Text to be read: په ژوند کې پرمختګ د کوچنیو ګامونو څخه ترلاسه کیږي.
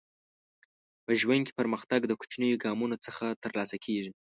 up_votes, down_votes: 2, 0